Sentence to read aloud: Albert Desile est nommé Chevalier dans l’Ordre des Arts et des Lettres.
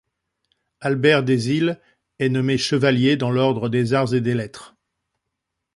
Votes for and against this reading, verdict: 2, 0, accepted